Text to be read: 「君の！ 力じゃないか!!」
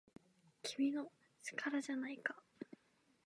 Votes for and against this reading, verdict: 2, 0, accepted